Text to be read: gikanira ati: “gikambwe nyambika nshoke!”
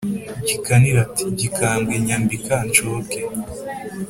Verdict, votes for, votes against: accepted, 3, 0